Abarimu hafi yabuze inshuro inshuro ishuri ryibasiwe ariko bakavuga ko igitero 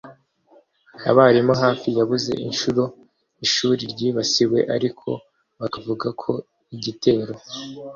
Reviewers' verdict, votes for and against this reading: accepted, 2, 0